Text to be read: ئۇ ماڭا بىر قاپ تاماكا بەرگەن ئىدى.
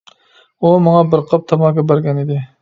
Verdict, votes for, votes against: accepted, 2, 0